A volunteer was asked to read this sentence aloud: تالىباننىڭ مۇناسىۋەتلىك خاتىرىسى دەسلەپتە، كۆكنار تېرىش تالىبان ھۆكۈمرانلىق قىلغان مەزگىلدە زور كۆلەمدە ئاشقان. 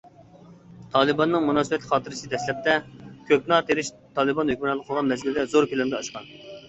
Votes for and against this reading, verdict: 1, 2, rejected